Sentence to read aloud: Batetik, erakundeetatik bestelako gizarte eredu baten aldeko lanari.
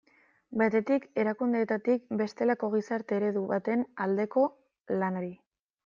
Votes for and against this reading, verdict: 0, 2, rejected